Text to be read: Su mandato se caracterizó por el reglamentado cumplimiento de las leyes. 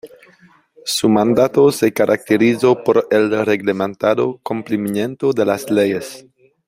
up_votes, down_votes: 1, 2